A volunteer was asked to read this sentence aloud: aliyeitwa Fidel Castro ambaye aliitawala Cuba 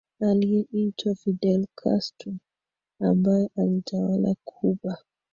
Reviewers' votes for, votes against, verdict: 2, 1, accepted